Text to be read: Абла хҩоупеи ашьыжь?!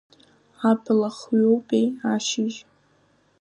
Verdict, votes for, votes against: accepted, 2, 0